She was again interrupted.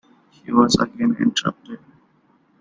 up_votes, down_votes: 2, 1